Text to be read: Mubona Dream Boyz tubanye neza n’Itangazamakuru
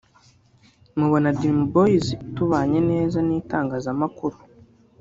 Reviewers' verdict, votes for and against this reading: rejected, 1, 2